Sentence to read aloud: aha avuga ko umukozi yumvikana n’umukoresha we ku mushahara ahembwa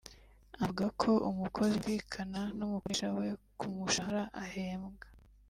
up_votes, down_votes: 1, 3